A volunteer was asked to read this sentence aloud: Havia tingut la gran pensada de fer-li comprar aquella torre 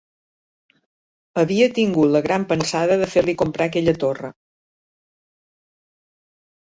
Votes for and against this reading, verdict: 4, 2, accepted